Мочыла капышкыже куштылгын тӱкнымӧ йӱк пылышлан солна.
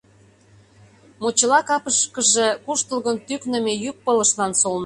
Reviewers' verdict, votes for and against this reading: rejected, 0, 2